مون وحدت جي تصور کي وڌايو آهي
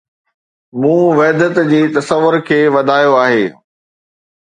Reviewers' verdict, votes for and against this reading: accepted, 2, 0